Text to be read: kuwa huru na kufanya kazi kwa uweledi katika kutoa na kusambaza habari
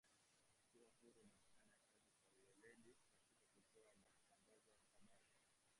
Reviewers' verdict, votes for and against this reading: rejected, 0, 2